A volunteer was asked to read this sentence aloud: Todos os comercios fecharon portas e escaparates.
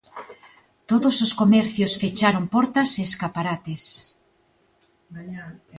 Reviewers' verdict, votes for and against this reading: accepted, 2, 0